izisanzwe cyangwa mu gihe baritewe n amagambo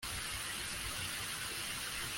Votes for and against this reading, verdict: 0, 2, rejected